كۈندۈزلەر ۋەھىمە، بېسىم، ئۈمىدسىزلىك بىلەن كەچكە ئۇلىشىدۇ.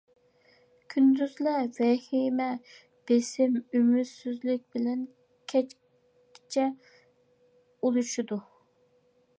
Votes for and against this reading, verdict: 0, 2, rejected